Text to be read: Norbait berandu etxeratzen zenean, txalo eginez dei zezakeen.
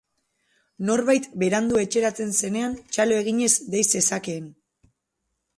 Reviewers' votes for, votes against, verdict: 4, 0, accepted